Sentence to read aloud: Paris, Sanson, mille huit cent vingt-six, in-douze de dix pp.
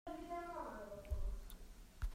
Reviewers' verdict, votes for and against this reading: rejected, 0, 2